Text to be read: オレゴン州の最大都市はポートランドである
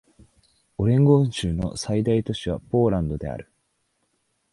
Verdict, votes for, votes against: rejected, 0, 2